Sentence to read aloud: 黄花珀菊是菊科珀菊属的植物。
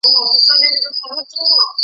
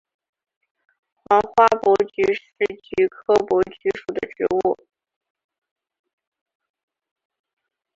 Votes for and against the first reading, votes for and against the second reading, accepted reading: 0, 2, 4, 0, second